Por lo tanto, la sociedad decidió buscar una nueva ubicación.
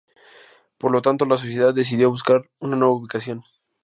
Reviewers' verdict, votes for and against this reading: rejected, 0, 2